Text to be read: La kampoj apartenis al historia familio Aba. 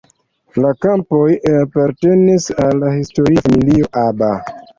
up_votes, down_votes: 2, 1